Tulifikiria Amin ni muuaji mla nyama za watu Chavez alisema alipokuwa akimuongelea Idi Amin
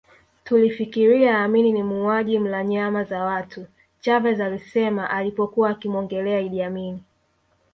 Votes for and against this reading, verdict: 2, 1, accepted